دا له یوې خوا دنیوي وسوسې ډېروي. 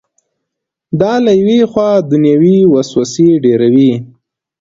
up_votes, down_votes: 2, 0